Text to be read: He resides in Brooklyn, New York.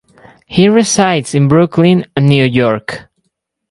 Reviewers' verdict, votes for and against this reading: accepted, 4, 0